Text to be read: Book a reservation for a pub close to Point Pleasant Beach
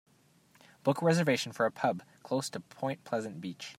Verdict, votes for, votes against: accepted, 2, 0